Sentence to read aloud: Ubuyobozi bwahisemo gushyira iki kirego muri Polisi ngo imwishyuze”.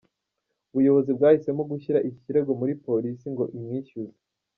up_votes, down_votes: 3, 0